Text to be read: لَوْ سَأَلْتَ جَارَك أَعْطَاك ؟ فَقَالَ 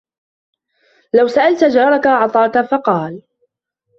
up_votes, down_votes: 2, 0